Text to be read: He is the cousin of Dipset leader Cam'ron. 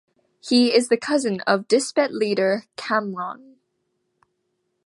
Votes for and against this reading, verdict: 0, 2, rejected